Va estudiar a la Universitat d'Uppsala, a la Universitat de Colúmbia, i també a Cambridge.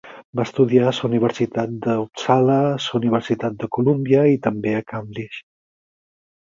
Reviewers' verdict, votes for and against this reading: rejected, 0, 4